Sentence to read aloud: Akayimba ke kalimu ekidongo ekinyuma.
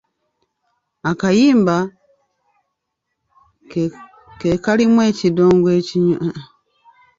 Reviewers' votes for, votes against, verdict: 0, 2, rejected